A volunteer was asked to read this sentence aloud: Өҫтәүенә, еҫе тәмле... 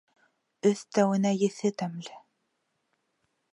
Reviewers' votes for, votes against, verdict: 2, 0, accepted